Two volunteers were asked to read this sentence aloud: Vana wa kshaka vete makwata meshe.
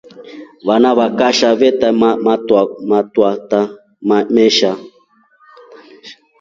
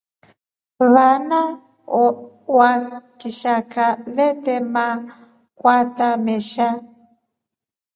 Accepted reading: second